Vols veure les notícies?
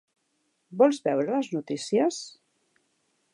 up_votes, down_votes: 3, 1